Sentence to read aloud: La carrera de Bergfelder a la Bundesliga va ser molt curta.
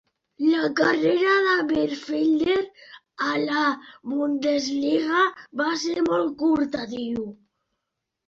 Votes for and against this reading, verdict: 1, 2, rejected